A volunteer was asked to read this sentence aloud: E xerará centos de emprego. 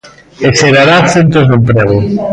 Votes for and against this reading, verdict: 1, 2, rejected